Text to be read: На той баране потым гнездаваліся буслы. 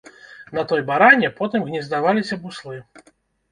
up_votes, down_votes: 0, 2